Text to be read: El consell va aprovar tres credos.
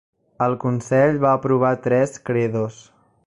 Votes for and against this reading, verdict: 0, 2, rejected